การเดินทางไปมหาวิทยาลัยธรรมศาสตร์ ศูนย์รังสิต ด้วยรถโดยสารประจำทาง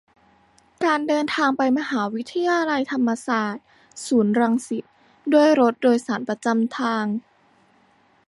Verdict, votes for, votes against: rejected, 0, 2